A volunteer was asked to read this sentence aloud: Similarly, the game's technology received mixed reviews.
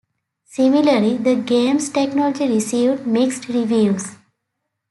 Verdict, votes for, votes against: accepted, 3, 1